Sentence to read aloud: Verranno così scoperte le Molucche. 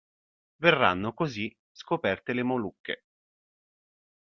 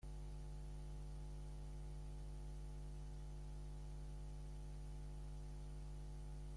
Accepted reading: first